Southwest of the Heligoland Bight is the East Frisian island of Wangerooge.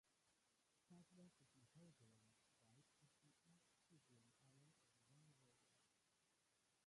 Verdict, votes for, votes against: rejected, 0, 2